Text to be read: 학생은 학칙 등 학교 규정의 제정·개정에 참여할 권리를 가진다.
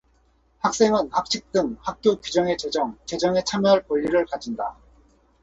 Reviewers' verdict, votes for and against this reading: rejected, 0, 4